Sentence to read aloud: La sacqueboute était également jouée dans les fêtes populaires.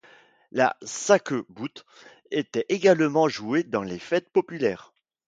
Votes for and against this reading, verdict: 2, 1, accepted